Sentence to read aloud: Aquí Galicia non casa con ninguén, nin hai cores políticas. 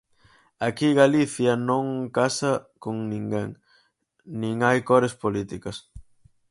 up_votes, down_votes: 4, 0